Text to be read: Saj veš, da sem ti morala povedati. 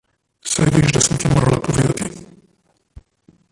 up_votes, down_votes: 0, 2